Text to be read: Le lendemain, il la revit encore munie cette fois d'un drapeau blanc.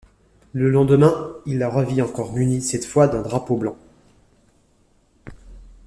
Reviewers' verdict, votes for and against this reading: accepted, 2, 0